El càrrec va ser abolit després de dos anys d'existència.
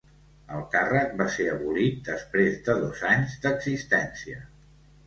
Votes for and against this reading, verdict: 3, 0, accepted